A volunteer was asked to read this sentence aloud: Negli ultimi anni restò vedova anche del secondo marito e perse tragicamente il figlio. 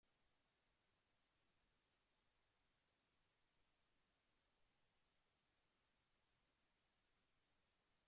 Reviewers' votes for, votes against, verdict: 0, 2, rejected